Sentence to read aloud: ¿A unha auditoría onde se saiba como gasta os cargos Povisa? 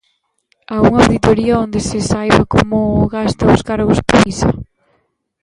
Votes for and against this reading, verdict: 1, 2, rejected